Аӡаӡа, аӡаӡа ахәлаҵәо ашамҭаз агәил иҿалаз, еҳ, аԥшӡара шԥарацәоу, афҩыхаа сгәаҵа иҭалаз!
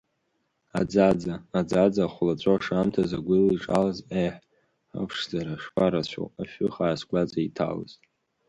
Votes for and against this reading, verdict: 1, 2, rejected